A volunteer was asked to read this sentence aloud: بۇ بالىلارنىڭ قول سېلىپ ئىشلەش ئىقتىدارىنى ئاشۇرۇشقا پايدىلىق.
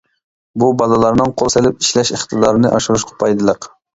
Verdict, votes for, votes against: accepted, 2, 0